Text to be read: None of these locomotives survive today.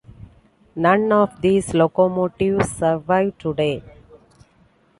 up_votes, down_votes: 2, 0